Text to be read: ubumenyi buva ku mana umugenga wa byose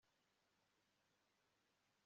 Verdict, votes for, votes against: rejected, 1, 3